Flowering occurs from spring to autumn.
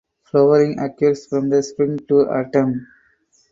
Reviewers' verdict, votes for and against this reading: rejected, 0, 4